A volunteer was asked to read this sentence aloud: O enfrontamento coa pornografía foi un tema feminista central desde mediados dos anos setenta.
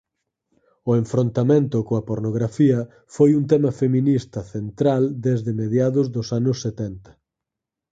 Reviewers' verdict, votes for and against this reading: rejected, 2, 4